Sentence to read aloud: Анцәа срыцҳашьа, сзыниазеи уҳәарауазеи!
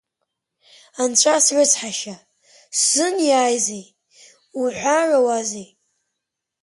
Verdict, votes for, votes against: accepted, 2, 0